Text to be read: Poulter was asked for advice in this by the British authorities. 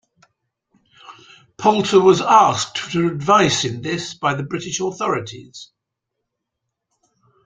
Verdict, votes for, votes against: accepted, 2, 0